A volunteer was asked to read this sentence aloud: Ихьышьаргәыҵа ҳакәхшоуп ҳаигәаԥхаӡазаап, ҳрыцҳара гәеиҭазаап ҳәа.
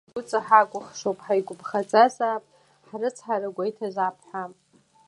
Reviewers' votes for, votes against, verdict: 1, 2, rejected